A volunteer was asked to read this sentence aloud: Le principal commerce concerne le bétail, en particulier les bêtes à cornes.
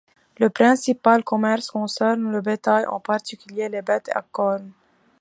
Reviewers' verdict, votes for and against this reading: accepted, 2, 0